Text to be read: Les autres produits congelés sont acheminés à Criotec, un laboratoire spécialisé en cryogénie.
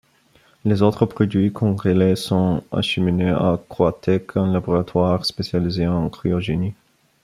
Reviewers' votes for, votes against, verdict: 0, 2, rejected